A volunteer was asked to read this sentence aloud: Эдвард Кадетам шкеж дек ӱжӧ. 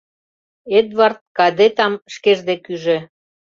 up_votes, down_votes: 2, 0